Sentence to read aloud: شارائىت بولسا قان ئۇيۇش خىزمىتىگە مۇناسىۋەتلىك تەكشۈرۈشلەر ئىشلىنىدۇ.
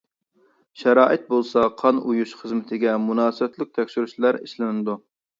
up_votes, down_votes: 2, 0